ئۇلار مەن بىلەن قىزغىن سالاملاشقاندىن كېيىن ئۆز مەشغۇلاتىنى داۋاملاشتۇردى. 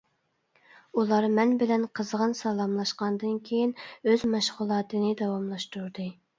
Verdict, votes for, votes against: accepted, 2, 0